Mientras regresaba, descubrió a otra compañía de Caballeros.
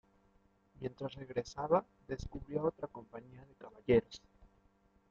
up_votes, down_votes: 2, 1